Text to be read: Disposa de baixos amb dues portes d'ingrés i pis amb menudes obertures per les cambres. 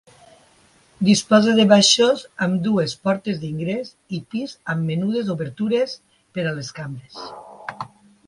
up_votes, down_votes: 1, 2